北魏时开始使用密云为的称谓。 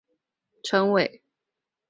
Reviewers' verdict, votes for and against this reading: rejected, 0, 3